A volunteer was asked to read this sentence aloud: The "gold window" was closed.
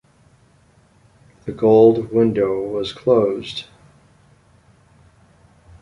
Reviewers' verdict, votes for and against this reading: accepted, 2, 0